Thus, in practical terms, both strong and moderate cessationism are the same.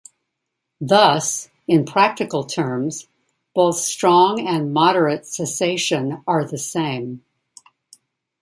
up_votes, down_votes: 2, 1